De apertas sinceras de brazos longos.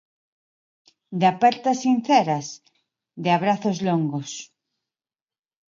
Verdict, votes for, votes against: rejected, 1, 2